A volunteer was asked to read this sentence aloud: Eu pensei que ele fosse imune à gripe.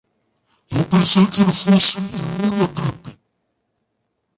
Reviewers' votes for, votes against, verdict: 0, 2, rejected